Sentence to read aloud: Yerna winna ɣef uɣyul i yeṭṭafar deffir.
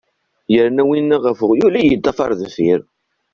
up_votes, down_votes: 0, 2